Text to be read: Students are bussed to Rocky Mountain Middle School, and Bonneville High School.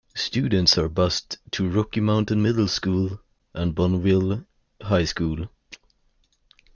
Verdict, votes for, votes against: accepted, 2, 0